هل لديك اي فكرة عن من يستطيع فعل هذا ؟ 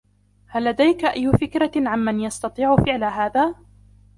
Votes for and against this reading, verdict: 0, 2, rejected